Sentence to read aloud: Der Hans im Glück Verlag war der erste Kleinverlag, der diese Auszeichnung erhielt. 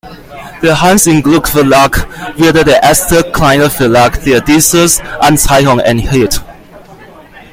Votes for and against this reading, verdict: 0, 2, rejected